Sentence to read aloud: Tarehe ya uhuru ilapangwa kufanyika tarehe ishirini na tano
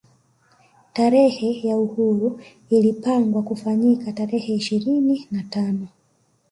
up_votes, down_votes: 1, 2